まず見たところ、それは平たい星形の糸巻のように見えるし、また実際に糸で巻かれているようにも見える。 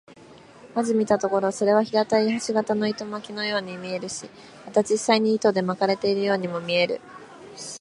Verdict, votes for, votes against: accepted, 7, 1